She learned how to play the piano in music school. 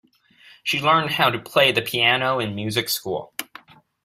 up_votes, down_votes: 2, 0